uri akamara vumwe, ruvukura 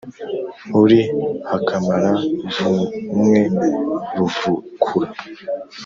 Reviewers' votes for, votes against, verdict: 2, 0, accepted